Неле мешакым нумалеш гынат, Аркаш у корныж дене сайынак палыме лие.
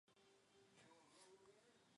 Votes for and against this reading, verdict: 1, 2, rejected